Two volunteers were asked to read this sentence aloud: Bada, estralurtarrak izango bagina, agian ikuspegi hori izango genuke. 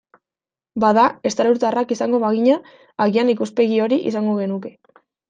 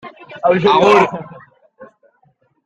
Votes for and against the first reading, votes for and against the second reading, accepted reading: 2, 0, 0, 2, first